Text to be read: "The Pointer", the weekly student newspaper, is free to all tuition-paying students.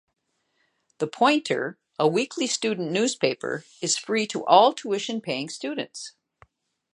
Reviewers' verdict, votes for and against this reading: rejected, 0, 2